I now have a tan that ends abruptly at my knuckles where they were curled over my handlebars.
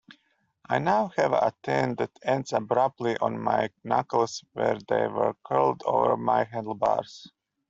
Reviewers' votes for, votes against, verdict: 0, 2, rejected